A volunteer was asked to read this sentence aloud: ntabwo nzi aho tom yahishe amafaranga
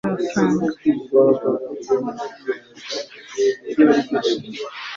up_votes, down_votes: 1, 2